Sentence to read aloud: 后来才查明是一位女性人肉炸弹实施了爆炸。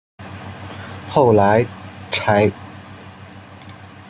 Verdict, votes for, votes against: rejected, 0, 2